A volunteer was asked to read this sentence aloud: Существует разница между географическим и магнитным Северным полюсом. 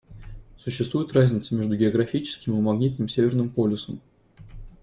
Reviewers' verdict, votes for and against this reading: accepted, 2, 0